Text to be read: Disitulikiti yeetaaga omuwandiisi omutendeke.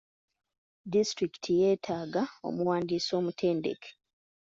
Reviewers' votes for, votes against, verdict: 2, 0, accepted